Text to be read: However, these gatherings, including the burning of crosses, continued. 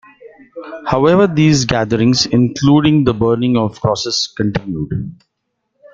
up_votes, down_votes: 2, 0